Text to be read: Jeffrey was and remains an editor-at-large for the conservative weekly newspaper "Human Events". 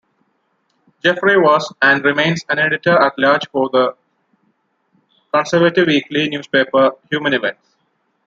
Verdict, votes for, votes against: accepted, 2, 0